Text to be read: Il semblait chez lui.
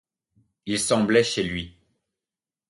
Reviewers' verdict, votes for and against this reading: accepted, 2, 0